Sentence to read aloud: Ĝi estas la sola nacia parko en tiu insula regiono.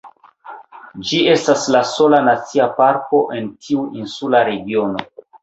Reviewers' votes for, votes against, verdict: 1, 2, rejected